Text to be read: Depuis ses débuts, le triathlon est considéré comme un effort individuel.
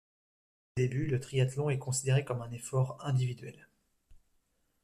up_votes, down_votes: 0, 2